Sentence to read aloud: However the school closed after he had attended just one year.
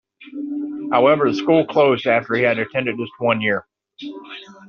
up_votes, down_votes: 2, 1